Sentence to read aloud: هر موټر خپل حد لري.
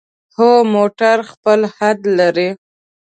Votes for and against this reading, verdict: 2, 1, accepted